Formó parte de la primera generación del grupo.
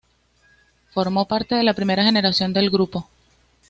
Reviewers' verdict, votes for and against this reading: accepted, 2, 0